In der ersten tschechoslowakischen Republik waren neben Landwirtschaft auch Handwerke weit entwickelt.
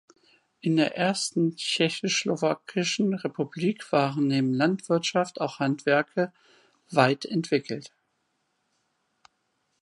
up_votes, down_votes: 1, 2